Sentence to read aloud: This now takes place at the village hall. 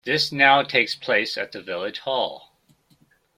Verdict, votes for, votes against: accepted, 2, 0